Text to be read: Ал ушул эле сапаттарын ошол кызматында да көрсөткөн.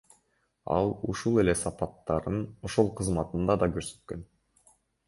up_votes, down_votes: 1, 2